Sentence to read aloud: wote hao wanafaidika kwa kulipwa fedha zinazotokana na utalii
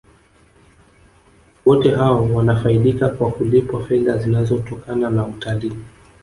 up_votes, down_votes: 1, 2